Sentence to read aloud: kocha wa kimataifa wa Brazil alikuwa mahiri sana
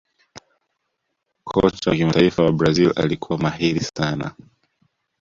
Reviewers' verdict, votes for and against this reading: rejected, 0, 2